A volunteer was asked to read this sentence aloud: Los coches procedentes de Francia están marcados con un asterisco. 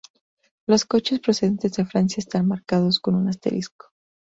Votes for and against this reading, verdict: 2, 0, accepted